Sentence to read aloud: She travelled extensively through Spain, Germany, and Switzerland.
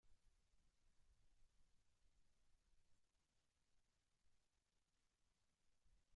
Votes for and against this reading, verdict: 0, 4, rejected